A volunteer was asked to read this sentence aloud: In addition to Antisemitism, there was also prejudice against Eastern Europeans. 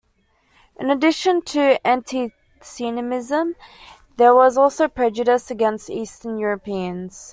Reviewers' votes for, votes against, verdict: 0, 2, rejected